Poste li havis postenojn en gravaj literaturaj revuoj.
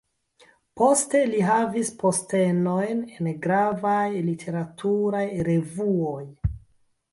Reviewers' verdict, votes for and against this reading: rejected, 0, 2